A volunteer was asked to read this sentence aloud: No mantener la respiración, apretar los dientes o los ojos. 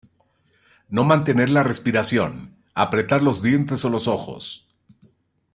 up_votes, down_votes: 2, 0